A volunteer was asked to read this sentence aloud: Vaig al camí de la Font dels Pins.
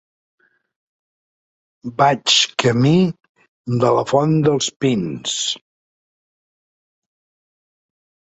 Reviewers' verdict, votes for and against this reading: rejected, 1, 2